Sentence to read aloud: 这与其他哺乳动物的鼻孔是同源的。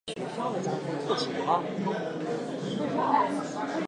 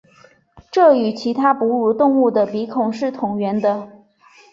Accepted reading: second